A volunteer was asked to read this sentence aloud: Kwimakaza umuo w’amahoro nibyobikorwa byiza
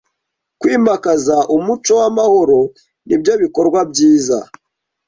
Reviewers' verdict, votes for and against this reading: rejected, 1, 2